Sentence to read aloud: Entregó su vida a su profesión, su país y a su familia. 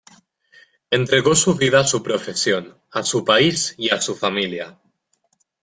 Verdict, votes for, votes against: rejected, 1, 2